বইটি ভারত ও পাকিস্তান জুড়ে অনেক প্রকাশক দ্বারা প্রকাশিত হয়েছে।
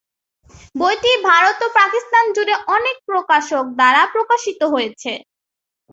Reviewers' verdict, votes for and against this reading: accepted, 2, 0